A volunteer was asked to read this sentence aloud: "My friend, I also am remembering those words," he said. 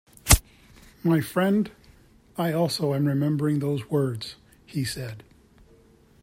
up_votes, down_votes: 2, 0